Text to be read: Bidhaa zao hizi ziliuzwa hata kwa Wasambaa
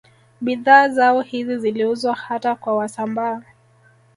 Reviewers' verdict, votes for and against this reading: accepted, 4, 0